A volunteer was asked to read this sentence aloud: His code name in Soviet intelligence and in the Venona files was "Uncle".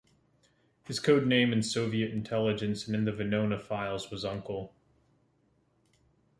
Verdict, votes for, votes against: accepted, 2, 0